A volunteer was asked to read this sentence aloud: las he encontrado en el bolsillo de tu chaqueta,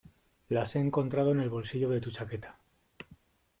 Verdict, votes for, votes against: accepted, 2, 0